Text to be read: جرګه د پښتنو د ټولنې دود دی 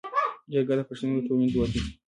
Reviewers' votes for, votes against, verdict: 2, 1, accepted